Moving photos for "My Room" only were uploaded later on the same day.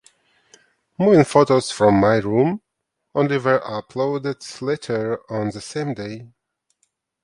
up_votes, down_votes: 2, 0